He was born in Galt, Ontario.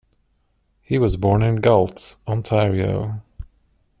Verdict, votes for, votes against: rejected, 1, 2